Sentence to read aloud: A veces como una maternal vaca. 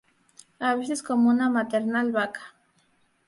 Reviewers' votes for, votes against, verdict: 4, 0, accepted